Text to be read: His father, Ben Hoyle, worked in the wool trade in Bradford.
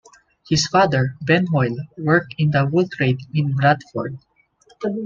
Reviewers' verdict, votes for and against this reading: accepted, 2, 1